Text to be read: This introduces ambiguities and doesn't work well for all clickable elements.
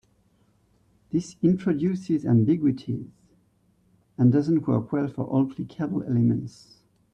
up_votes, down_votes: 1, 2